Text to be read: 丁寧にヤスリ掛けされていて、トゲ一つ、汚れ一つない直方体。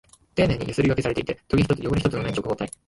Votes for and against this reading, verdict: 2, 0, accepted